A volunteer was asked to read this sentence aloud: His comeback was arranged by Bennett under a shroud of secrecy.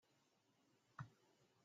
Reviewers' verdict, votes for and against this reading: rejected, 0, 2